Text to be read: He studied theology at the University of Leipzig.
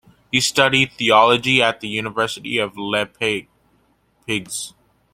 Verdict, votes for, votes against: rejected, 0, 2